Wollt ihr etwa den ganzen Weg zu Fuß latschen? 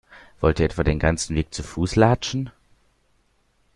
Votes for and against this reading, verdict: 2, 0, accepted